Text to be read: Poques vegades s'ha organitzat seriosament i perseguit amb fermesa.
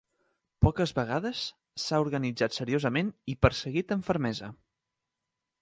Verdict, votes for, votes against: accepted, 2, 0